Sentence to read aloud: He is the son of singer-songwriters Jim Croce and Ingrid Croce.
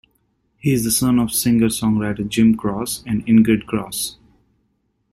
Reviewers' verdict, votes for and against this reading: rejected, 0, 2